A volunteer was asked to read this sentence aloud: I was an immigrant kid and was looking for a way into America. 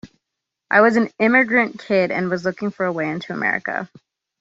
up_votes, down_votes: 2, 0